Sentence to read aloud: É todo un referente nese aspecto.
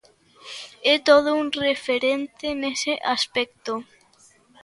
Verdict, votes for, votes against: accepted, 3, 0